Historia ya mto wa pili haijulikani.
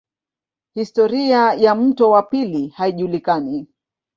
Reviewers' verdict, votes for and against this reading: accepted, 2, 0